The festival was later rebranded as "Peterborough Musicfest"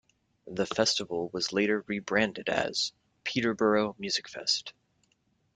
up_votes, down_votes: 2, 0